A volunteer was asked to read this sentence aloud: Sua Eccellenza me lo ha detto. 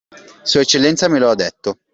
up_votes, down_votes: 2, 0